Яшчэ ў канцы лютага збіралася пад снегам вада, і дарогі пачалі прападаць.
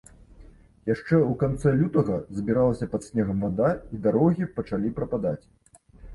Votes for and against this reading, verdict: 2, 0, accepted